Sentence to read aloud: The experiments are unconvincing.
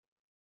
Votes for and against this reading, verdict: 0, 3, rejected